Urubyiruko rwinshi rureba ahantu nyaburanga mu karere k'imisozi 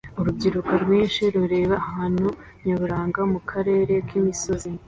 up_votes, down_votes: 2, 0